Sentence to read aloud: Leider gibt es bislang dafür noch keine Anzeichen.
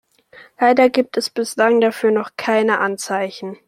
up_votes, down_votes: 2, 0